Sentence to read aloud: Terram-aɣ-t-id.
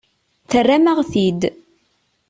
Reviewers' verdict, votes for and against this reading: accepted, 2, 0